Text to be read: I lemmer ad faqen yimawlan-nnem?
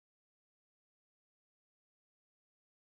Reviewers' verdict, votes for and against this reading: rejected, 0, 2